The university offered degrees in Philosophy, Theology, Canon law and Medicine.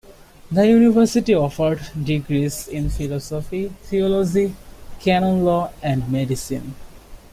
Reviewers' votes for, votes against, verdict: 2, 0, accepted